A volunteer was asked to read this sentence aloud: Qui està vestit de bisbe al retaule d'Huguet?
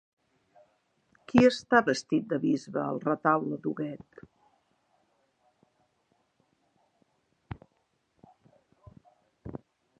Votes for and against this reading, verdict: 0, 2, rejected